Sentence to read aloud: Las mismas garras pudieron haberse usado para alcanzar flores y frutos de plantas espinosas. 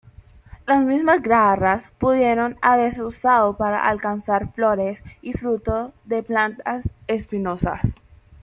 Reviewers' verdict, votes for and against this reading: rejected, 1, 2